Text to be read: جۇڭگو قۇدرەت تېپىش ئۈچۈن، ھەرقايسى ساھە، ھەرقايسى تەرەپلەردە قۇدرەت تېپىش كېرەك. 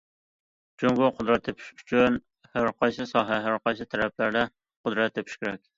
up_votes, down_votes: 2, 0